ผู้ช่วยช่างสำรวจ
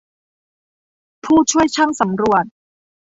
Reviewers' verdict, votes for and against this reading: rejected, 0, 2